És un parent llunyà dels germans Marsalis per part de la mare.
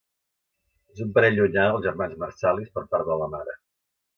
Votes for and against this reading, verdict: 0, 2, rejected